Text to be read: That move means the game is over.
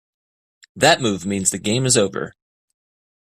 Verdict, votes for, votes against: accepted, 2, 0